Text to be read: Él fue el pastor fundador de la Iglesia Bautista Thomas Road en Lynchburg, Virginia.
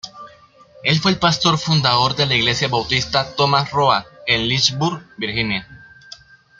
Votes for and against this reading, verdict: 2, 0, accepted